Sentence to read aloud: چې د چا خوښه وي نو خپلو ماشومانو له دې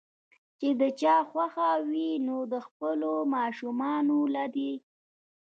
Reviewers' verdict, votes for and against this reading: accepted, 2, 1